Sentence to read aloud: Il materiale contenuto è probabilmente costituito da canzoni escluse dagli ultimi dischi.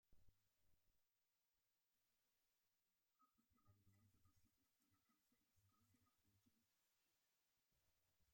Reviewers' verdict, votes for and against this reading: rejected, 0, 2